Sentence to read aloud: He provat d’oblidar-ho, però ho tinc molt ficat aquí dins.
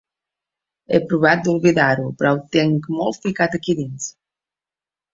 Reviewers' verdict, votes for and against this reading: accepted, 3, 1